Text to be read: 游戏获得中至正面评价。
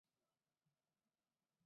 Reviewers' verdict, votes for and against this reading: rejected, 0, 2